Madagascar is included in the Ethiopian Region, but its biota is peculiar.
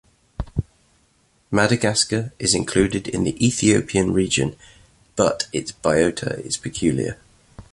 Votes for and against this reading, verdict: 2, 0, accepted